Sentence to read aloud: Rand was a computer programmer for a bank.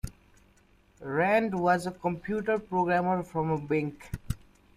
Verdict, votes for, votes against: rejected, 1, 2